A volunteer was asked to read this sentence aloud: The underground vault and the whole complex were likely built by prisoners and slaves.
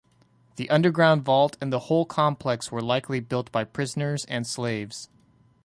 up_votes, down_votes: 2, 0